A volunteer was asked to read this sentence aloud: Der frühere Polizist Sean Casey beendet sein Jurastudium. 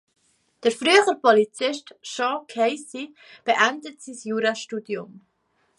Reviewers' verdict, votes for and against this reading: rejected, 0, 3